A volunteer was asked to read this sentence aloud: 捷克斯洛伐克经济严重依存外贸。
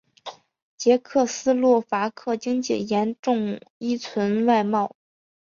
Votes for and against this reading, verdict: 3, 0, accepted